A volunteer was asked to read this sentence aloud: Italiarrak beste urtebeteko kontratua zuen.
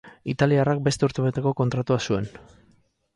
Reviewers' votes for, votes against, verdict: 4, 0, accepted